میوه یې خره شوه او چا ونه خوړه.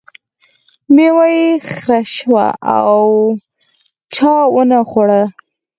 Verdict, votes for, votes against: accepted, 4, 2